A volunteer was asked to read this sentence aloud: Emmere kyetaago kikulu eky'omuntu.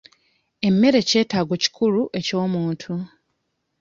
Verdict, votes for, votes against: accepted, 2, 0